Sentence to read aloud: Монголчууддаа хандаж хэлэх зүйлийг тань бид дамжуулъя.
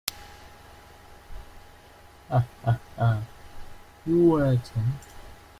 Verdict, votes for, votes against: rejected, 0, 2